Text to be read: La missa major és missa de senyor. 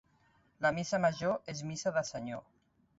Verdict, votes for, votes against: accepted, 2, 0